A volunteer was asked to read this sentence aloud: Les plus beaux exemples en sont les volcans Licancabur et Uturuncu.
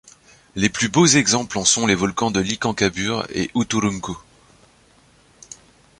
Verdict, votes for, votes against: rejected, 1, 2